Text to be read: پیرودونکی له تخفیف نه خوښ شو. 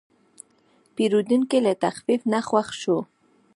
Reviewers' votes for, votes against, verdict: 1, 2, rejected